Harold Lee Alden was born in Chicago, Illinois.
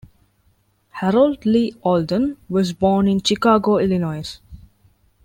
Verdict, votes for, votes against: rejected, 1, 2